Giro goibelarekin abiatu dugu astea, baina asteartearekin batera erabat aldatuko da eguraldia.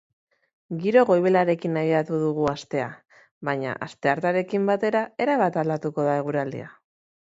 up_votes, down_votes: 2, 0